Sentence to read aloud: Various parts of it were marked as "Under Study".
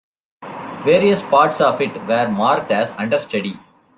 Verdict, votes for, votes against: rejected, 1, 2